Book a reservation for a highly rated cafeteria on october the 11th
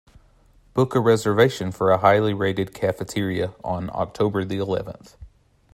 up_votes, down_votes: 0, 2